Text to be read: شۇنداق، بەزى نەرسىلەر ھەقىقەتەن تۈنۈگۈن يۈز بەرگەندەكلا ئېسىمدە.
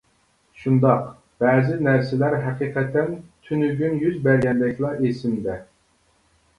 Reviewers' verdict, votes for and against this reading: accepted, 2, 0